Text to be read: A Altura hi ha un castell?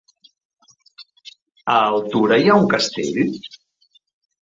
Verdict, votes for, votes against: rejected, 1, 3